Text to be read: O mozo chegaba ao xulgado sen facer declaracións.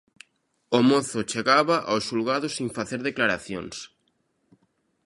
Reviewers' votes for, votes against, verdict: 0, 2, rejected